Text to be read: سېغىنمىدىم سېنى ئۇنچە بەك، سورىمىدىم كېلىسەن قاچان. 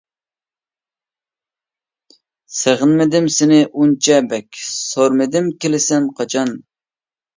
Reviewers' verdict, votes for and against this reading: accepted, 2, 0